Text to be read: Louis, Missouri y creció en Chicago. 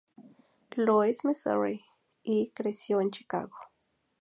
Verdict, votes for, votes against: accepted, 2, 0